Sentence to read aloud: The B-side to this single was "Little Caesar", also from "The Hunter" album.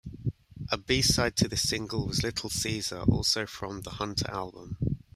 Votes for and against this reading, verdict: 1, 2, rejected